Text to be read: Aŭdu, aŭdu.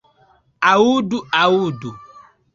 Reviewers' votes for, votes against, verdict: 1, 2, rejected